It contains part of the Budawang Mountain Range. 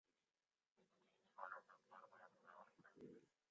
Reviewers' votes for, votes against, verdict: 0, 2, rejected